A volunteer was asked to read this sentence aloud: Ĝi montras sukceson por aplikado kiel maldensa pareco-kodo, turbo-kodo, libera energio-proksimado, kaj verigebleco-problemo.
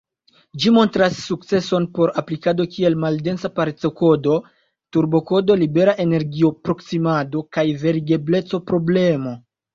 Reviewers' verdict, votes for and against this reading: accepted, 2, 0